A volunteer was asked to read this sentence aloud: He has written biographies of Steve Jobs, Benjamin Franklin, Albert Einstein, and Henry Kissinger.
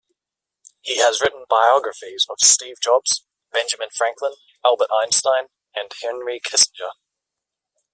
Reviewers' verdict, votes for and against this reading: accepted, 2, 0